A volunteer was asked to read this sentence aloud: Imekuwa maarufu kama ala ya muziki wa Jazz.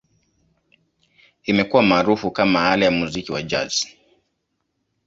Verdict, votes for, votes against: accepted, 2, 0